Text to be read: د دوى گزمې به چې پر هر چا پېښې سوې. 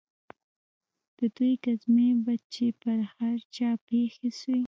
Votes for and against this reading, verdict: 0, 2, rejected